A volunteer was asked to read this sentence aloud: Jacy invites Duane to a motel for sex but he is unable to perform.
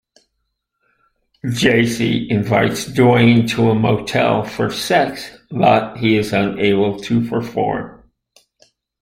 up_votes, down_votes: 2, 0